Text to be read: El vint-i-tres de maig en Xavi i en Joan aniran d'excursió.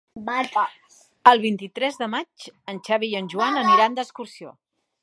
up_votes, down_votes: 0, 2